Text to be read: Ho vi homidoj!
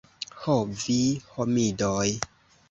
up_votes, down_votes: 2, 0